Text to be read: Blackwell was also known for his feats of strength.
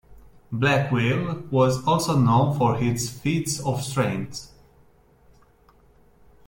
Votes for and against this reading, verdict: 2, 0, accepted